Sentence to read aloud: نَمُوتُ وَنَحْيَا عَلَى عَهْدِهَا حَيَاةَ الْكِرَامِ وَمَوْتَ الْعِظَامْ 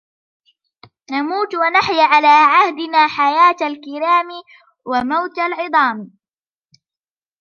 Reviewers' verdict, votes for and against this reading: rejected, 1, 2